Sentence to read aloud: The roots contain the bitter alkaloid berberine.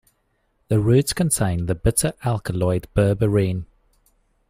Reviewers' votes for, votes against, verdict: 2, 0, accepted